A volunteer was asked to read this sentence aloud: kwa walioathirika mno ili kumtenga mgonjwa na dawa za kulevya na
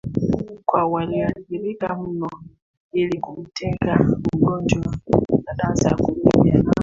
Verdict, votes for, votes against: rejected, 0, 2